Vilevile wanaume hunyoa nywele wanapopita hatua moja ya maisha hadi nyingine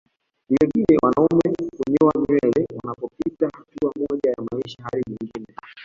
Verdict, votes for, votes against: accepted, 2, 1